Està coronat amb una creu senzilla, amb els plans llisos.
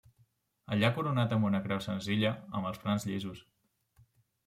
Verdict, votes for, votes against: rejected, 0, 2